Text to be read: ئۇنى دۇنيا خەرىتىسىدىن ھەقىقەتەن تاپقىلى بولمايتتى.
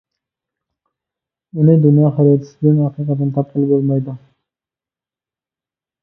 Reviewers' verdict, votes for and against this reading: rejected, 0, 2